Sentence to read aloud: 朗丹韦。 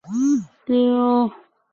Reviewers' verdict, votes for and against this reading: rejected, 0, 4